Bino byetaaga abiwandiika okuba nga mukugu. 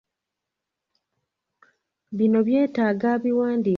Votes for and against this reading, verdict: 0, 2, rejected